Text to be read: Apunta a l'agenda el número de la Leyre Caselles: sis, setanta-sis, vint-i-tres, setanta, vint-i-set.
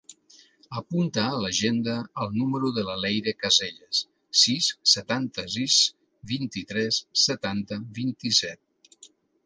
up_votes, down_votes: 3, 0